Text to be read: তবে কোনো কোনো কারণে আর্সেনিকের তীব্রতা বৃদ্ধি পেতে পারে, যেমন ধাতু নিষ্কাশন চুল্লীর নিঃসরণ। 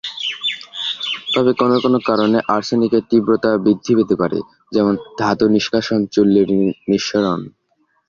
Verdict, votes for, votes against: accepted, 2, 0